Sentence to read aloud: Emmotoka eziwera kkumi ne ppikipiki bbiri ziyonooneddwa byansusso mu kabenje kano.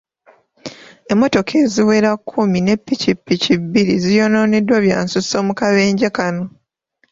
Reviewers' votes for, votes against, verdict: 2, 1, accepted